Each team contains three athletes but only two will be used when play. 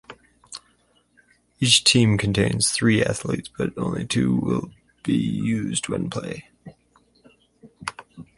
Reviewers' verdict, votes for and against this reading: accepted, 4, 0